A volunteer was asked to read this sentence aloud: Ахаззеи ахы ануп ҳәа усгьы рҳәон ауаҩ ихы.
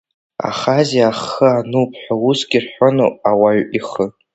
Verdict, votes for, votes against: rejected, 1, 2